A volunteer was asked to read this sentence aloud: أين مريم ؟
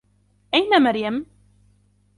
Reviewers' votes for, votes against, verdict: 2, 1, accepted